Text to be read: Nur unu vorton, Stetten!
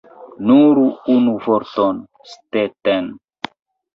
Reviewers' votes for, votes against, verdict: 1, 2, rejected